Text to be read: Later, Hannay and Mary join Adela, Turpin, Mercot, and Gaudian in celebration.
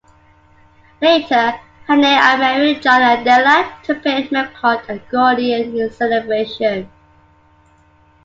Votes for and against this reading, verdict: 1, 2, rejected